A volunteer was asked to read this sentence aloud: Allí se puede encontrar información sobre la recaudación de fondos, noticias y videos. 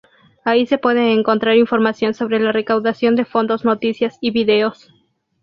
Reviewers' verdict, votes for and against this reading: accepted, 2, 0